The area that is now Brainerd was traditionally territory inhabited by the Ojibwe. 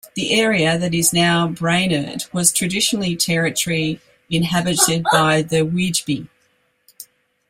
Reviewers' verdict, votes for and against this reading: rejected, 0, 2